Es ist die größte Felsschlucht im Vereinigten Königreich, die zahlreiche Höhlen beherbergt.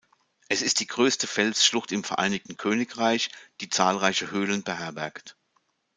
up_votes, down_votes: 2, 0